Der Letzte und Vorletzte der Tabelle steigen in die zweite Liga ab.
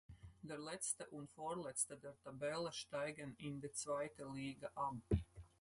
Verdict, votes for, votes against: accepted, 4, 2